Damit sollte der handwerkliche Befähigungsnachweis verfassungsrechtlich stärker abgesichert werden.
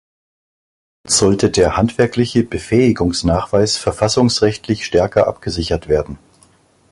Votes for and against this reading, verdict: 0, 3, rejected